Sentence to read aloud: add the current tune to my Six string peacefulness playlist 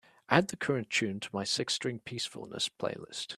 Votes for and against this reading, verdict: 2, 0, accepted